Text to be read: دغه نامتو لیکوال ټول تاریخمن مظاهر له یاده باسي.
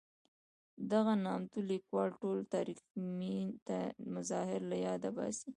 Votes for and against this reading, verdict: 2, 0, accepted